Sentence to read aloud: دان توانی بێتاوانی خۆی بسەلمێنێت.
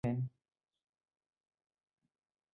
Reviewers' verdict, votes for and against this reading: rejected, 0, 2